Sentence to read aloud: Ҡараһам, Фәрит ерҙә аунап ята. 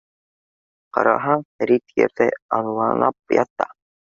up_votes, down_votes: 0, 2